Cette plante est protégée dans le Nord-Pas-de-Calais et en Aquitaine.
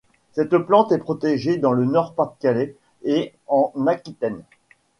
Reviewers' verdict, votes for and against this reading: accepted, 2, 0